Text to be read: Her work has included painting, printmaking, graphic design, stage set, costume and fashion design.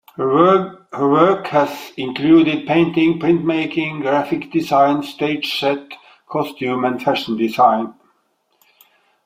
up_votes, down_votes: 1, 2